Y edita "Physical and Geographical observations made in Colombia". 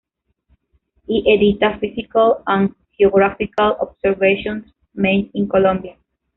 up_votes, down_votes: 1, 2